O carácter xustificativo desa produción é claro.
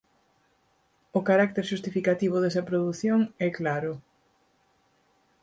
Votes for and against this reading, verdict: 4, 0, accepted